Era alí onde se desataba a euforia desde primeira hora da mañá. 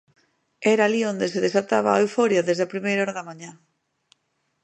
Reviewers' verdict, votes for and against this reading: rejected, 1, 2